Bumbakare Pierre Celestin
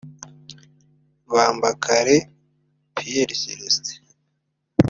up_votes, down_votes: 1, 2